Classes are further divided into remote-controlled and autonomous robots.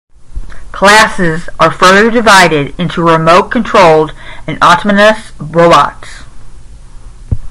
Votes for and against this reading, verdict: 5, 0, accepted